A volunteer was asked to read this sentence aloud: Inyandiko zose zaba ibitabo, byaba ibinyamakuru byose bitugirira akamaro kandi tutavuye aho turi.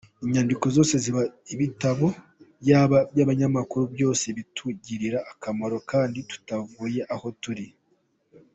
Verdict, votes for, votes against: accepted, 2, 1